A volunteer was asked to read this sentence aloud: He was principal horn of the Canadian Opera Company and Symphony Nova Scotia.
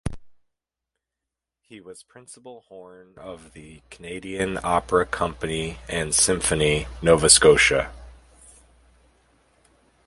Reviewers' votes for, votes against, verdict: 2, 0, accepted